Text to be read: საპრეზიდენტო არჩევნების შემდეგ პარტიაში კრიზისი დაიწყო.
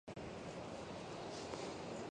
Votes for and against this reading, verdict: 0, 2, rejected